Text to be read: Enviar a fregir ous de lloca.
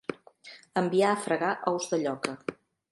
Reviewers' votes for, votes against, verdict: 0, 2, rejected